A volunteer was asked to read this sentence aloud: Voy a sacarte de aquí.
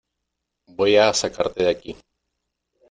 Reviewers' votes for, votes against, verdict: 2, 0, accepted